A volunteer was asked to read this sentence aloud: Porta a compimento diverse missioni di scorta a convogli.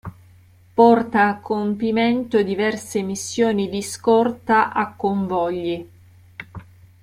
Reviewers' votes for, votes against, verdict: 0, 2, rejected